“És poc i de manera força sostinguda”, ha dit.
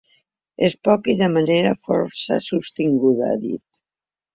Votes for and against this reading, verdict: 5, 0, accepted